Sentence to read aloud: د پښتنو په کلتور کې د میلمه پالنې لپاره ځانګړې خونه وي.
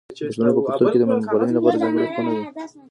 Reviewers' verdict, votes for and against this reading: rejected, 0, 2